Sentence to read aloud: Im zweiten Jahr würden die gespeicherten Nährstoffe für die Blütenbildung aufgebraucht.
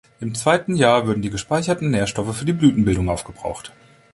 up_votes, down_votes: 0, 2